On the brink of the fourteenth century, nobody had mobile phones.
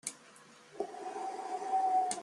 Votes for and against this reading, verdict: 0, 2, rejected